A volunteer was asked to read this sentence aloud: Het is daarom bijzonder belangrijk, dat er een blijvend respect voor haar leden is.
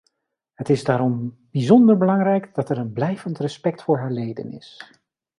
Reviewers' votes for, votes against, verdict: 2, 1, accepted